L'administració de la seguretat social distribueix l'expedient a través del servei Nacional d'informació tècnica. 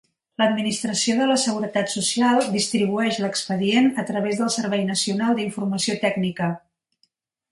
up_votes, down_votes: 2, 0